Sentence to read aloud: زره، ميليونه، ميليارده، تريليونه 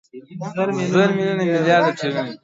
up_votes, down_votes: 0, 2